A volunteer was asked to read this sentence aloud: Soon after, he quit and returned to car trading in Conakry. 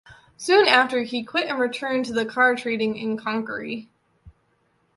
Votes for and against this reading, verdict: 1, 2, rejected